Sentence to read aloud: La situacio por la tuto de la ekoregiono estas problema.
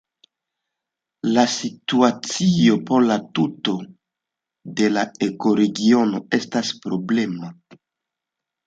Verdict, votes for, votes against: accepted, 2, 0